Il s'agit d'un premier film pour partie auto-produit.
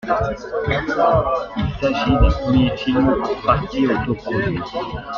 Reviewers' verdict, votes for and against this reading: accepted, 2, 1